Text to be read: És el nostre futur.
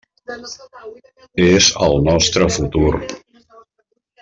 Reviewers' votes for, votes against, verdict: 3, 0, accepted